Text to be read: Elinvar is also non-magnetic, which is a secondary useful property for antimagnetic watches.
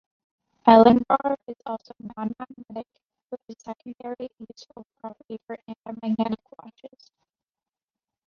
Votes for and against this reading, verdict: 0, 2, rejected